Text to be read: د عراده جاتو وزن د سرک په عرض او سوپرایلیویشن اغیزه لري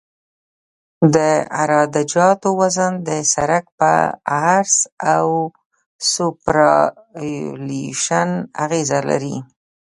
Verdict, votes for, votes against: accepted, 2, 0